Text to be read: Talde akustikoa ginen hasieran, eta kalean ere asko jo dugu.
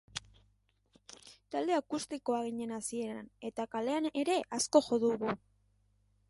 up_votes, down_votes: 3, 0